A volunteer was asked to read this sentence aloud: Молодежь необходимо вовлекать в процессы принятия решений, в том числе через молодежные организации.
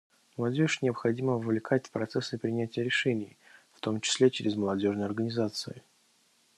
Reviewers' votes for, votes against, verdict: 1, 2, rejected